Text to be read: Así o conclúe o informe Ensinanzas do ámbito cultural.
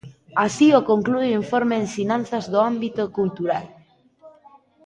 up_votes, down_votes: 2, 1